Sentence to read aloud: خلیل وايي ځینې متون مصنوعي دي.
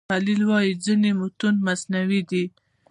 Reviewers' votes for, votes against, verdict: 2, 0, accepted